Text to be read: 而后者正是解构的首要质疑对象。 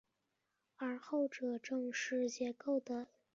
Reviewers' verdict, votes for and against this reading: rejected, 2, 2